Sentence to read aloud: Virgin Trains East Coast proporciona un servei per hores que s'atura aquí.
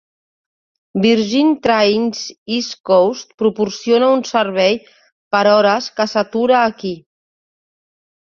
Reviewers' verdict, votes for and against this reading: accepted, 3, 0